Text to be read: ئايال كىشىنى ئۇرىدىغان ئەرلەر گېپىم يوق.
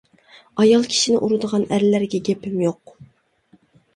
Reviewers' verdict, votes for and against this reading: rejected, 1, 2